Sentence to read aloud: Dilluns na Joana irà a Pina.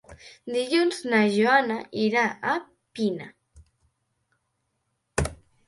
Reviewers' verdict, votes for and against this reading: accepted, 3, 0